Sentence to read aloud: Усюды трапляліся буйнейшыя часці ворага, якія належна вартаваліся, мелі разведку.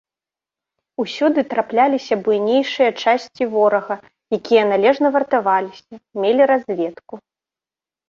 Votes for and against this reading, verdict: 3, 0, accepted